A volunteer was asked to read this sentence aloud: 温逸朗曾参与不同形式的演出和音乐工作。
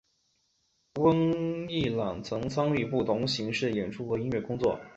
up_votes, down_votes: 4, 1